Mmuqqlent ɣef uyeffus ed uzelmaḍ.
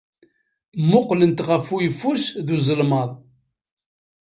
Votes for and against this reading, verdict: 2, 1, accepted